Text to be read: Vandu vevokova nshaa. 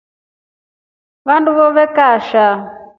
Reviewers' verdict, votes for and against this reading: accepted, 2, 0